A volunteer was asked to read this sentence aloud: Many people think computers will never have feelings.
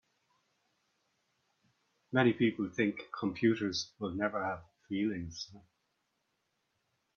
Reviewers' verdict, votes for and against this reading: accepted, 4, 0